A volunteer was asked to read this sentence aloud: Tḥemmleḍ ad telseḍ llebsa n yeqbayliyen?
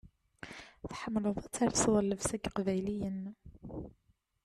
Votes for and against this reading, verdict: 1, 2, rejected